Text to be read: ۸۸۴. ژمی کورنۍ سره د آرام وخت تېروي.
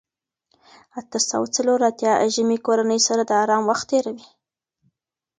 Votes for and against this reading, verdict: 0, 2, rejected